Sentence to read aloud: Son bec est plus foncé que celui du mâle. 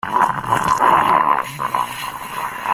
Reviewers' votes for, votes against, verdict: 0, 2, rejected